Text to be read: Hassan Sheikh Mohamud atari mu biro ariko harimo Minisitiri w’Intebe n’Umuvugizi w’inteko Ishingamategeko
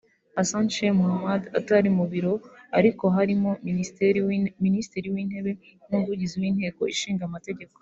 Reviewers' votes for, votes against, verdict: 1, 2, rejected